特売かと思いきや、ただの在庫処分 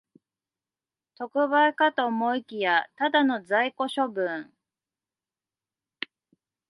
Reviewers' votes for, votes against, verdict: 2, 1, accepted